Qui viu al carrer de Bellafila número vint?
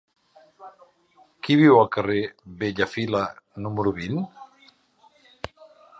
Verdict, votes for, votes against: rejected, 1, 2